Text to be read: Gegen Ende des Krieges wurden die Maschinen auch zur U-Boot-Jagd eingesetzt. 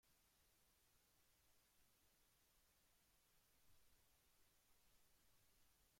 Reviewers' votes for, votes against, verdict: 0, 2, rejected